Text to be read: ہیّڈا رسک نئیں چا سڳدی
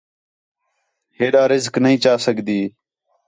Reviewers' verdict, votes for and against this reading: accepted, 4, 0